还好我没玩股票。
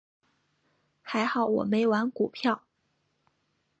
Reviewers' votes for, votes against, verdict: 3, 0, accepted